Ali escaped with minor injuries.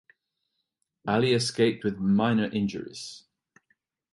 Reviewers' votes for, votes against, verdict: 2, 0, accepted